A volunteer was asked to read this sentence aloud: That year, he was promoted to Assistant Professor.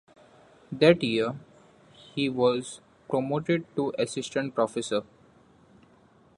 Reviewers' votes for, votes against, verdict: 2, 0, accepted